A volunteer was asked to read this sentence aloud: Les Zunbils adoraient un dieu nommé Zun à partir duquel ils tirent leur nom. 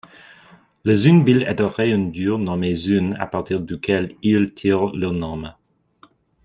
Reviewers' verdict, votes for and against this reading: rejected, 0, 2